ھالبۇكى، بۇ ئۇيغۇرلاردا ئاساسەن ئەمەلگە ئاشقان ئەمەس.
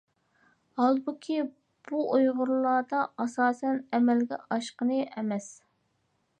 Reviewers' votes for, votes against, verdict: 1, 2, rejected